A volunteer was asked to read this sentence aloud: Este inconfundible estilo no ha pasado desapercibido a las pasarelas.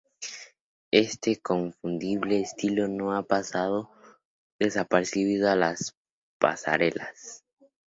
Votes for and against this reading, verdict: 0, 2, rejected